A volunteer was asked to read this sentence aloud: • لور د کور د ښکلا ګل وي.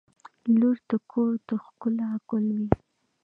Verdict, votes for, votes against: accepted, 2, 1